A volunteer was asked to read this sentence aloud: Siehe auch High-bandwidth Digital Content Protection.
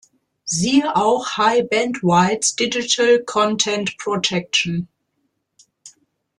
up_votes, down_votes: 1, 2